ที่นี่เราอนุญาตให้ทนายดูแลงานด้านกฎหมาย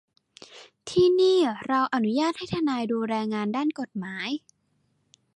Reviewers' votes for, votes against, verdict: 2, 0, accepted